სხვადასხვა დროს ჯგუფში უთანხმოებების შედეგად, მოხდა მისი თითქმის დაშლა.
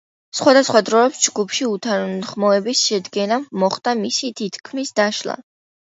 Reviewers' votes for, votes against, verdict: 0, 2, rejected